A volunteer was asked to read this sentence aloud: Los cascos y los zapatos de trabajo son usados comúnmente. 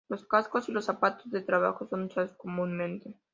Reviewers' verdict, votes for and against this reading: accepted, 3, 0